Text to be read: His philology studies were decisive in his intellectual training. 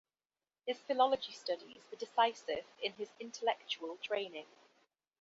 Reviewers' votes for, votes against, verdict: 2, 0, accepted